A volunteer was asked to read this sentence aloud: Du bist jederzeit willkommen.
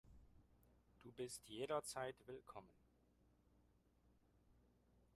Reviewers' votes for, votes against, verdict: 1, 2, rejected